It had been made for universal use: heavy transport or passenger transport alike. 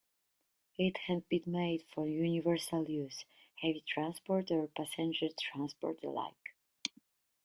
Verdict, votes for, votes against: accepted, 2, 0